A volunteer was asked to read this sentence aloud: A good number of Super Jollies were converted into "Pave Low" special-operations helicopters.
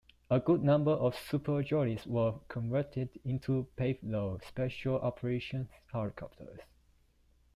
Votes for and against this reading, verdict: 1, 2, rejected